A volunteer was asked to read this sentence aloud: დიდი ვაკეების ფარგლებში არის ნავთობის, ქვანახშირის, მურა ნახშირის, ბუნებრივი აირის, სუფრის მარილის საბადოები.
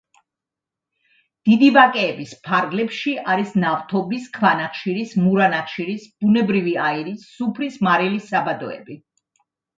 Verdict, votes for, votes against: accepted, 2, 0